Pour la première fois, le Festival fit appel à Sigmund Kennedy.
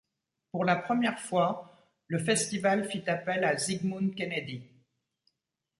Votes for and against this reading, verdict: 2, 0, accepted